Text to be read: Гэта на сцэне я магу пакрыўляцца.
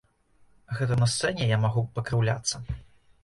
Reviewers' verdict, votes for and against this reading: accepted, 2, 0